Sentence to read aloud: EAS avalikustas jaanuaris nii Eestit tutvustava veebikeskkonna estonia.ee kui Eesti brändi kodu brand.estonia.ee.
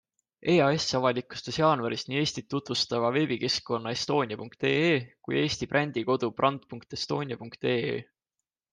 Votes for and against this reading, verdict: 2, 0, accepted